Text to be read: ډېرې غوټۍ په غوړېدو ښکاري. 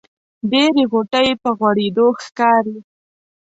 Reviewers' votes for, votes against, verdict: 2, 0, accepted